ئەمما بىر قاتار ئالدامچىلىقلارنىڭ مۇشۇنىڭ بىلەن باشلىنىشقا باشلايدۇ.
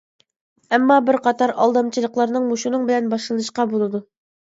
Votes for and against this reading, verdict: 2, 1, accepted